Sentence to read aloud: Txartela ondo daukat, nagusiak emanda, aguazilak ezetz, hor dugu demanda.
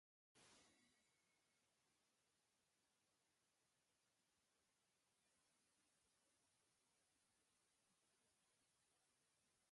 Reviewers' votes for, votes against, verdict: 0, 2, rejected